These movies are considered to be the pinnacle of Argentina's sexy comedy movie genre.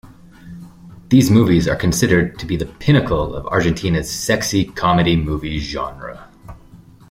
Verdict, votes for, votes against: accepted, 2, 0